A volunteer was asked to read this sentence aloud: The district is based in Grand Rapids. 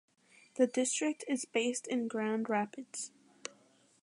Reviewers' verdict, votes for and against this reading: accepted, 2, 0